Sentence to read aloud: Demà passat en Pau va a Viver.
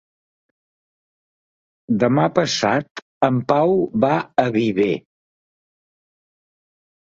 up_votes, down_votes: 3, 0